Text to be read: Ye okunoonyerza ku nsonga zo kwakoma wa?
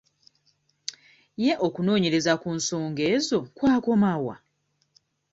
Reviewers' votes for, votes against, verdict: 1, 2, rejected